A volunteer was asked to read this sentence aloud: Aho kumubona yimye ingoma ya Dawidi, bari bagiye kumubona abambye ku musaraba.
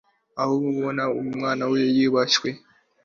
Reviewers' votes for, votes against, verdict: 0, 2, rejected